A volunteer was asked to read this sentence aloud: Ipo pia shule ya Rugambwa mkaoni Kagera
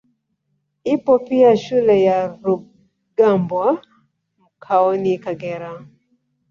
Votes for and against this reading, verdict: 0, 2, rejected